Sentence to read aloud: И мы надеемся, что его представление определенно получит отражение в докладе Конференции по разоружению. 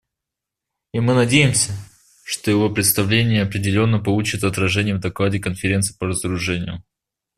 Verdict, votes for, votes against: accepted, 2, 0